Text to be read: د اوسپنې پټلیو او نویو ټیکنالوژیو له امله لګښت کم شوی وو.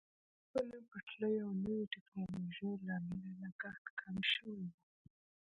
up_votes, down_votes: 0, 2